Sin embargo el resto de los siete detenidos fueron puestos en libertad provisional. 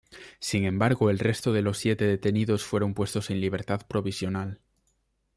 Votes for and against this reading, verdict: 2, 0, accepted